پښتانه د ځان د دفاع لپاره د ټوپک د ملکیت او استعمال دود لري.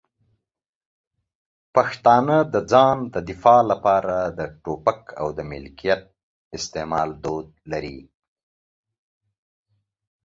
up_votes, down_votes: 2, 1